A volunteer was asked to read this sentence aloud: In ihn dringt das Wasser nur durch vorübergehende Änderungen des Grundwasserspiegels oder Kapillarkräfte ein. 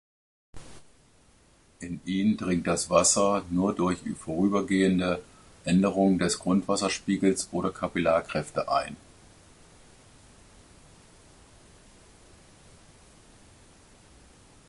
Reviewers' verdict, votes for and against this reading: accepted, 2, 0